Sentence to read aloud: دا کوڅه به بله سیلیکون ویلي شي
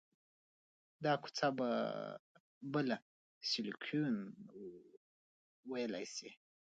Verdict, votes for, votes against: rejected, 0, 2